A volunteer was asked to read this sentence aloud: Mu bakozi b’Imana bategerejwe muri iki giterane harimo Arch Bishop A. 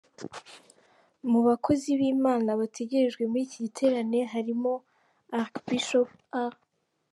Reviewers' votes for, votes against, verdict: 2, 1, accepted